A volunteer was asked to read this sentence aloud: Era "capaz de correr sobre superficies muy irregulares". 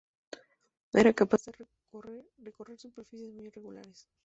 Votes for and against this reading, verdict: 0, 2, rejected